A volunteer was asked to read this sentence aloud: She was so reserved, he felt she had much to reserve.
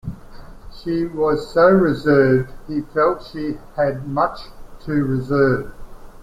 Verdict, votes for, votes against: accepted, 3, 0